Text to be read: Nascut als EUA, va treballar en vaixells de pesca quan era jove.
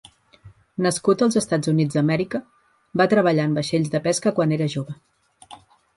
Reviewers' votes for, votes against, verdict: 2, 1, accepted